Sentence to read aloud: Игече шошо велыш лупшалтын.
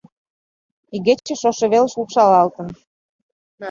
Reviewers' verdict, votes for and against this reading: rejected, 0, 2